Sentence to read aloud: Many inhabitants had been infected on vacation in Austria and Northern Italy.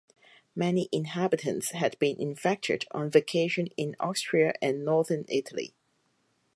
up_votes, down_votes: 4, 0